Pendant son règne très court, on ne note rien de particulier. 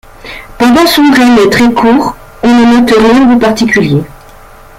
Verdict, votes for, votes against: rejected, 1, 2